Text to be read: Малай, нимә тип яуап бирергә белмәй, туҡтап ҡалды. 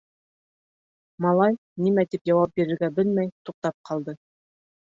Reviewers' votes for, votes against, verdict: 1, 2, rejected